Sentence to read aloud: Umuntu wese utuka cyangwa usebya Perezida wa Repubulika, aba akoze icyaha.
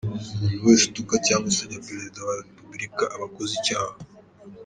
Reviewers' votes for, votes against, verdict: 2, 0, accepted